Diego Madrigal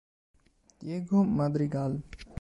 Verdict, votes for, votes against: accepted, 2, 0